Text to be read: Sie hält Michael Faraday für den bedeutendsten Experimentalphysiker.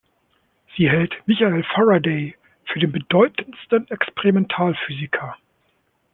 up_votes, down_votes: 2, 0